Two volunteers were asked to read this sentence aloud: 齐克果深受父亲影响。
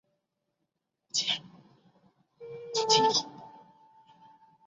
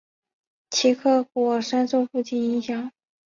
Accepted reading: second